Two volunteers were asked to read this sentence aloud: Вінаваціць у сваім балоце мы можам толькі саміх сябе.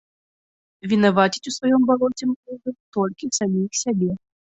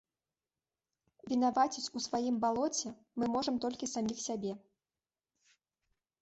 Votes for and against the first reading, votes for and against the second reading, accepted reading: 0, 2, 3, 1, second